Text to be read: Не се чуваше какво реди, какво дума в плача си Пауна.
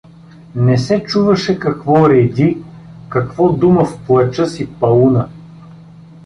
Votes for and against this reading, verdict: 2, 0, accepted